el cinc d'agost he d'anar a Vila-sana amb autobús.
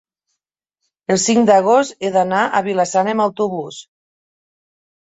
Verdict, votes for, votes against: accepted, 3, 0